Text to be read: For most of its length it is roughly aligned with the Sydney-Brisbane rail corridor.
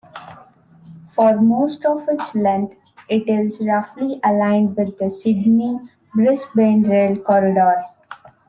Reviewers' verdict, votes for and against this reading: accepted, 2, 0